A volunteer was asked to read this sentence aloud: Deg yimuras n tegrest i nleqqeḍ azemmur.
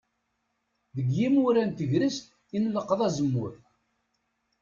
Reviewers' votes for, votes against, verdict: 1, 2, rejected